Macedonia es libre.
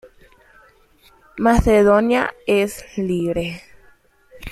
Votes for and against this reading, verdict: 2, 0, accepted